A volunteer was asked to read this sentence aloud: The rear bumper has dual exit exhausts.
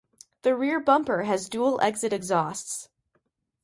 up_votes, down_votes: 2, 0